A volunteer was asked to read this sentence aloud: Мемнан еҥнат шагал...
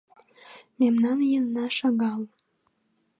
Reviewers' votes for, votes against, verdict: 1, 2, rejected